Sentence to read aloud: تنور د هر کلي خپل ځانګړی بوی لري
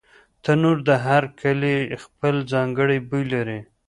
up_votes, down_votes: 2, 0